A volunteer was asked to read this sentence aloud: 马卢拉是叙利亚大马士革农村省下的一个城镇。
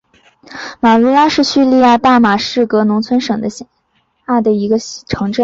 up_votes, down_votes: 2, 1